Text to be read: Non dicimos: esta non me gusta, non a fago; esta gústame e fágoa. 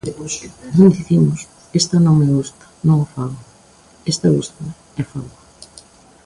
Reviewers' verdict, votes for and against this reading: rejected, 0, 2